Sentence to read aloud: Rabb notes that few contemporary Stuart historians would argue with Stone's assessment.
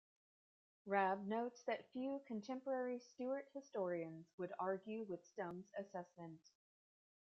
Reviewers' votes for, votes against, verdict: 3, 2, accepted